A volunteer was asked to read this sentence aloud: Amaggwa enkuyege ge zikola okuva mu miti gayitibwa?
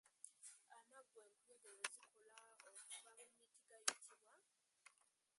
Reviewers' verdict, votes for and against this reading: rejected, 1, 2